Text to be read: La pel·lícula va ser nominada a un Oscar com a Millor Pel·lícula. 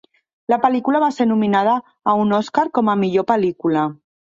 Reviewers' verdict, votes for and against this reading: accepted, 4, 0